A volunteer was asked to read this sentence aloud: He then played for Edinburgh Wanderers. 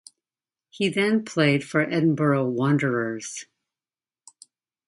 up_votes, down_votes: 0, 2